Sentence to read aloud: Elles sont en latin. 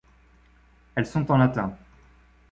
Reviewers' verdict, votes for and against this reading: accepted, 2, 0